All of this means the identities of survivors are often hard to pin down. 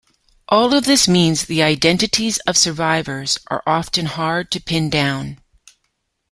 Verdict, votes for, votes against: accepted, 2, 0